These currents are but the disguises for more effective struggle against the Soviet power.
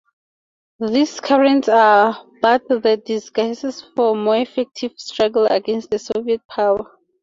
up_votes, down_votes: 2, 0